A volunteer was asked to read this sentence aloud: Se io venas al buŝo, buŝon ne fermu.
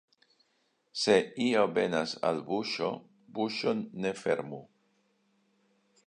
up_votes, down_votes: 1, 2